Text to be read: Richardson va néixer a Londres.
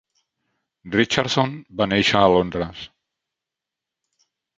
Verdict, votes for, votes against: accepted, 3, 0